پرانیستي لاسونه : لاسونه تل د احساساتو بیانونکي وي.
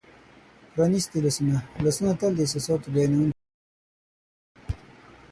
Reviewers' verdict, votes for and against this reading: rejected, 0, 6